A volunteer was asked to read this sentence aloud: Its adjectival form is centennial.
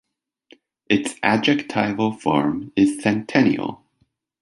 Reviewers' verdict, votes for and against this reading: accepted, 2, 0